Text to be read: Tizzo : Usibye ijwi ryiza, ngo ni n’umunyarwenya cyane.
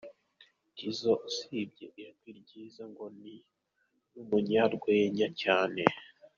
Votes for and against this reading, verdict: 2, 1, accepted